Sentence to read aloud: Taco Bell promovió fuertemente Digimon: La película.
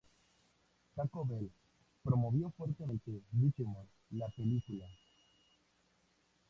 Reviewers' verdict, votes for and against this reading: accepted, 2, 0